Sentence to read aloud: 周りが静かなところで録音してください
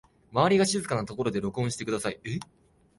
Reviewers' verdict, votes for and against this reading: rejected, 0, 2